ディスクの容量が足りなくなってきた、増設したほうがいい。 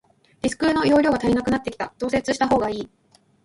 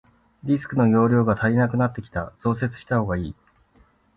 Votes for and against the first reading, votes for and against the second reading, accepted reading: 0, 2, 2, 0, second